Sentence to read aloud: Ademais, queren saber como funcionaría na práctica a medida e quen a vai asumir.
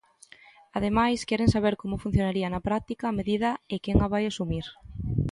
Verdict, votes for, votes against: accepted, 2, 0